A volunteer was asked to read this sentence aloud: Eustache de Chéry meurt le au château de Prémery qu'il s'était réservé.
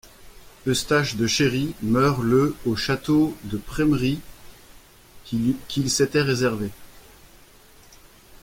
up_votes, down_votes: 0, 2